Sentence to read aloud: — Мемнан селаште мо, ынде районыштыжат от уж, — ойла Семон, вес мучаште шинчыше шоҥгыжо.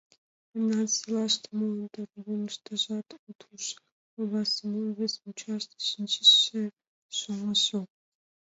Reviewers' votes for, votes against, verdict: 1, 2, rejected